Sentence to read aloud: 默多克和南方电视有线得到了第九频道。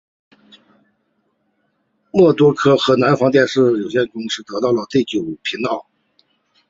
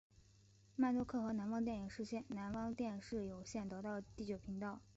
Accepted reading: first